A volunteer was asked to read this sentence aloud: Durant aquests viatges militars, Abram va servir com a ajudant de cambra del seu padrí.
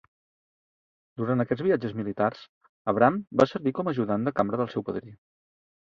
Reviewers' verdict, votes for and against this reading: accepted, 2, 0